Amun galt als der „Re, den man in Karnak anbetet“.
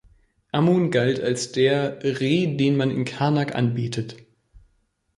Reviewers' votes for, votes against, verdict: 2, 0, accepted